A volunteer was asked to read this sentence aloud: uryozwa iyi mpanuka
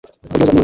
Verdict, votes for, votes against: rejected, 0, 2